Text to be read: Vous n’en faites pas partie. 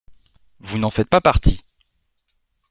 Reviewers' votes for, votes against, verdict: 2, 0, accepted